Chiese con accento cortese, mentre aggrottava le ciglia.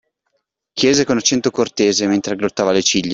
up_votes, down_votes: 2, 0